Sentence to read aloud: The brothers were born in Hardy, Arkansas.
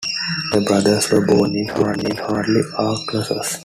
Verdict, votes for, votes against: rejected, 1, 2